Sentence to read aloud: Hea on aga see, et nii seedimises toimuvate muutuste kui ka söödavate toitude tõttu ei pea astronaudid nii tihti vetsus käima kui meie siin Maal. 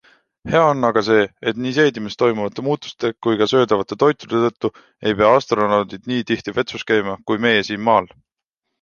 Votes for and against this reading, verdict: 2, 0, accepted